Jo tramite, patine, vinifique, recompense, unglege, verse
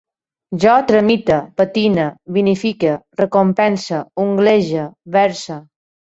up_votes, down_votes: 2, 0